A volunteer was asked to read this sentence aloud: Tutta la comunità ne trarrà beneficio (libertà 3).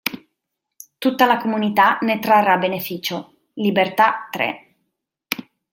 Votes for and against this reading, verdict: 0, 2, rejected